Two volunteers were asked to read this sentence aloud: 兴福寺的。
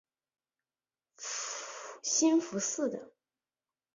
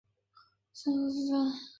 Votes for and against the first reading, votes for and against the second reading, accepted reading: 3, 0, 1, 3, first